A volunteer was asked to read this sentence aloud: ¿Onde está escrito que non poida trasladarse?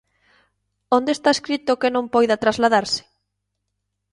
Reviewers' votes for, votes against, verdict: 2, 0, accepted